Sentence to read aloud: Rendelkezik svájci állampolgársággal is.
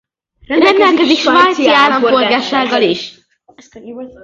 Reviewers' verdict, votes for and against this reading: rejected, 0, 2